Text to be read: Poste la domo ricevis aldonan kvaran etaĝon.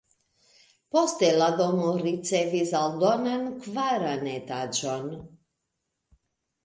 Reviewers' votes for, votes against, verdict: 2, 0, accepted